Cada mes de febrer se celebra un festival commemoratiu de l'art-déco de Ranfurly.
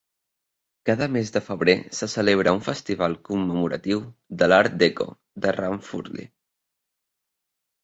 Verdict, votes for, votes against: rejected, 1, 2